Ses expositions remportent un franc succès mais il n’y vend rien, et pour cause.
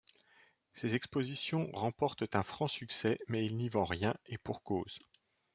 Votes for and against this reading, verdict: 2, 0, accepted